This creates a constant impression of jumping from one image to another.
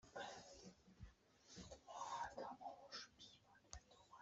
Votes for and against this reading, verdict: 0, 2, rejected